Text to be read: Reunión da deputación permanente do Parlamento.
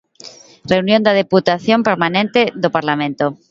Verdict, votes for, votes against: rejected, 1, 2